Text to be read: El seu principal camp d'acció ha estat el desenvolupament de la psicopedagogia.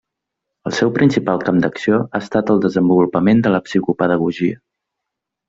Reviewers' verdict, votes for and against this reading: rejected, 1, 2